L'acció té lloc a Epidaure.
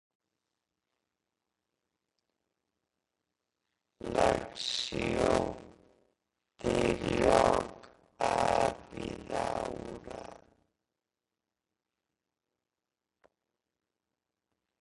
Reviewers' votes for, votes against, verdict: 0, 2, rejected